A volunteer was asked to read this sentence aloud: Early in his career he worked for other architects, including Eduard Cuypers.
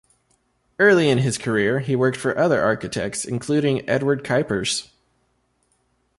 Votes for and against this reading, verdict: 2, 0, accepted